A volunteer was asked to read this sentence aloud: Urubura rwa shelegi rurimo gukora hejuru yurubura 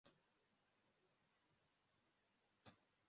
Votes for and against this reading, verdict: 0, 2, rejected